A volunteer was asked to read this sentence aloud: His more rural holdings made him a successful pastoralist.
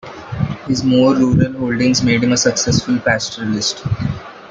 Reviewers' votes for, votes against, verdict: 1, 2, rejected